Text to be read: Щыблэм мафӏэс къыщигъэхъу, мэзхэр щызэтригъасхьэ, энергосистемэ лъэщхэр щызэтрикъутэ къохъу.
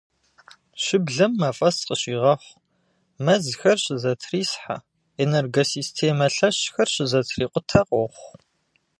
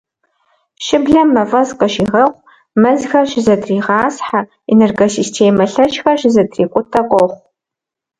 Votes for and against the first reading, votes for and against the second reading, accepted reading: 1, 2, 2, 0, second